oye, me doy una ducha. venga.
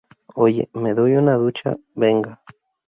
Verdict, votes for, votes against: accepted, 2, 0